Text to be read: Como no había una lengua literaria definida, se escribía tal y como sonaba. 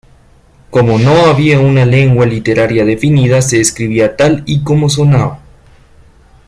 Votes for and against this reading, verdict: 2, 1, accepted